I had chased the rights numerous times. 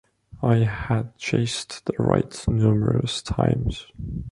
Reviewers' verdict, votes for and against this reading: accepted, 2, 0